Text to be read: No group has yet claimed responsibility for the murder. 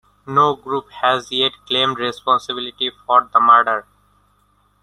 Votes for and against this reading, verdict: 2, 0, accepted